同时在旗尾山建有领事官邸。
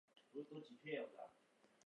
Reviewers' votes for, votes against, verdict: 0, 3, rejected